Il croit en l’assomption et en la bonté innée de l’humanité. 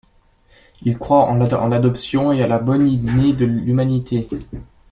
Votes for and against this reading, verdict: 1, 2, rejected